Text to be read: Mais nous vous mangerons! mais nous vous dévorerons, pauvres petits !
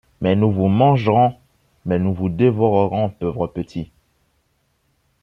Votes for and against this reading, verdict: 2, 1, accepted